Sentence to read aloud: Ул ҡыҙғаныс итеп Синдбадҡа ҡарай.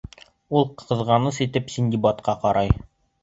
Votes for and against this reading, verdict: 1, 2, rejected